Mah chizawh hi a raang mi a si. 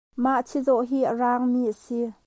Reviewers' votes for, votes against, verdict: 2, 0, accepted